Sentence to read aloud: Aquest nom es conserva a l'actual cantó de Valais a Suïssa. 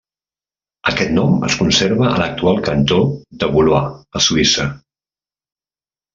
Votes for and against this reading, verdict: 0, 2, rejected